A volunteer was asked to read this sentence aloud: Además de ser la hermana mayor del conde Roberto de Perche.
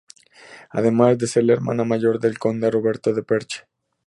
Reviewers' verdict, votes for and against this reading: accepted, 2, 0